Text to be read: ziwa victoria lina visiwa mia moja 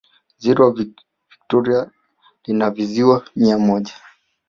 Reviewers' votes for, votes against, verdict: 0, 2, rejected